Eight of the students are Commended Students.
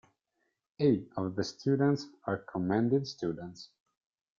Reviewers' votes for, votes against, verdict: 2, 0, accepted